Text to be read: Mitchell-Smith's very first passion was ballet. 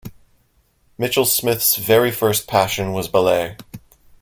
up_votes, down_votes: 1, 2